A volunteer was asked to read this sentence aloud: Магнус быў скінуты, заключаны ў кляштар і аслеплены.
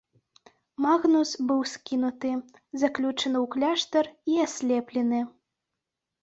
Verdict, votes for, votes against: rejected, 1, 2